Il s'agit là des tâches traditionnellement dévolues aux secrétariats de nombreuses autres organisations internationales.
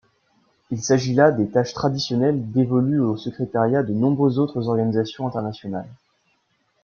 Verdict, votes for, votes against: rejected, 1, 2